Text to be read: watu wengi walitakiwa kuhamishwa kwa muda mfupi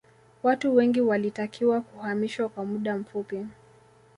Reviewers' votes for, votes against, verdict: 2, 1, accepted